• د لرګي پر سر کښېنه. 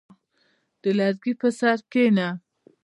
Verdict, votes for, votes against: accepted, 2, 0